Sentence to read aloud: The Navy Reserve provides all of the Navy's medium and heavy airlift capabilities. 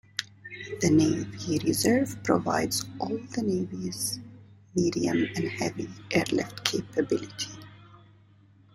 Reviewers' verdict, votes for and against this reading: rejected, 1, 2